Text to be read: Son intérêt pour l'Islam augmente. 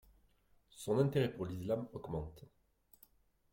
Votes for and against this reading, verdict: 0, 2, rejected